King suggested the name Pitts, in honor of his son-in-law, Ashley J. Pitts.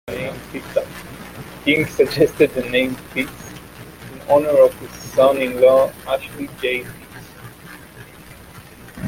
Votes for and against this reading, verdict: 0, 2, rejected